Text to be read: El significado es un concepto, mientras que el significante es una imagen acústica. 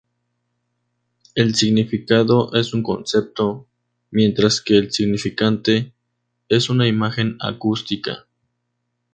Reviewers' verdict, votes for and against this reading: accepted, 2, 0